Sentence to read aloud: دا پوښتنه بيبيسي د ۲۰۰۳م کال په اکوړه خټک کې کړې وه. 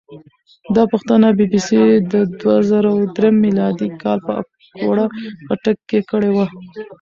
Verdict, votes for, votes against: rejected, 0, 2